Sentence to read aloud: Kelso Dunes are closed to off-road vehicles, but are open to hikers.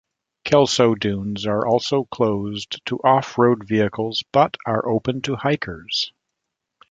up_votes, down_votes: 2, 1